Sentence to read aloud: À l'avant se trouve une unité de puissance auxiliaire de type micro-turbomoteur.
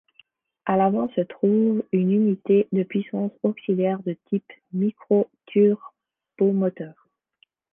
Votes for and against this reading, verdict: 1, 2, rejected